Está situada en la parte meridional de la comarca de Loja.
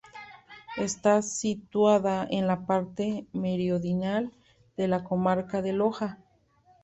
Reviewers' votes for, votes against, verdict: 0, 2, rejected